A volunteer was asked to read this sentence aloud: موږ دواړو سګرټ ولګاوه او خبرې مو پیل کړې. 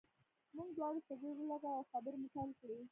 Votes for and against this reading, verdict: 1, 2, rejected